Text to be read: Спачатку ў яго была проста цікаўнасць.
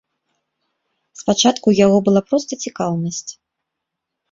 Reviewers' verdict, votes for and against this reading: accepted, 3, 0